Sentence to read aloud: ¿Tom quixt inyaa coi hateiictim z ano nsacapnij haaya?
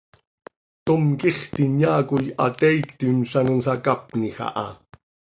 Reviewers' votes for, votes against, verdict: 2, 0, accepted